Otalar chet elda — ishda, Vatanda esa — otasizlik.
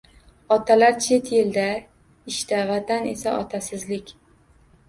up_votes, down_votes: 1, 2